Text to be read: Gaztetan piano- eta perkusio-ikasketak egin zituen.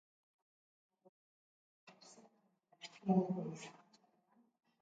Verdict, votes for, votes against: rejected, 0, 2